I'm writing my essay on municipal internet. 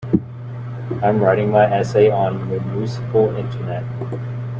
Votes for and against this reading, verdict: 0, 2, rejected